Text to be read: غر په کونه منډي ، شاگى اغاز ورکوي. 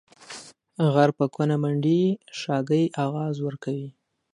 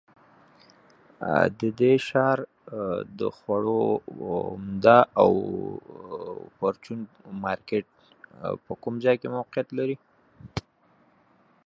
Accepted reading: first